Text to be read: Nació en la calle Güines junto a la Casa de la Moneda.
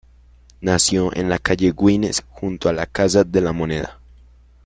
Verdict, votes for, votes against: rejected, 1, 2